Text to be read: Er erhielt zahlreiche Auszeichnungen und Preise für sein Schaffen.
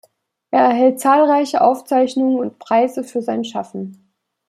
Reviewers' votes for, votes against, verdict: 0, 2, rejected